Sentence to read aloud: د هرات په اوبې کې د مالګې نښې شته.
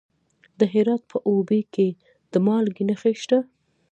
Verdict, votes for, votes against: rejected, 0, 2